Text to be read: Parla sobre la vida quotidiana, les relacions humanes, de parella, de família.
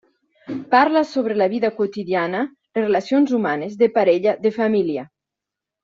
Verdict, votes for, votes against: rejected, 0, 2